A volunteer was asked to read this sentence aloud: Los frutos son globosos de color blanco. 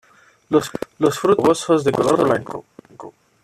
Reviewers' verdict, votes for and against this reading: accepted, 2, 1